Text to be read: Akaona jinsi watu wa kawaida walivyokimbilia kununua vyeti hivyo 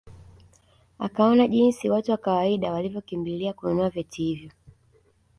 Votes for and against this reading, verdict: 1, 2, rejected